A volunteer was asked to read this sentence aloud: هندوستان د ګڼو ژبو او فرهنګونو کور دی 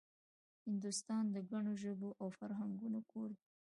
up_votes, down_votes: 2, 1